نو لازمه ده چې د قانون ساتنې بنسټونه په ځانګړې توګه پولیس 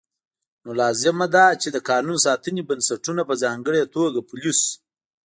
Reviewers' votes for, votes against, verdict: 2, 0, accepted